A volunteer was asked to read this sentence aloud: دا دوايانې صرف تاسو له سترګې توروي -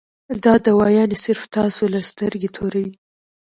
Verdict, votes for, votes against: rejected, 1, 2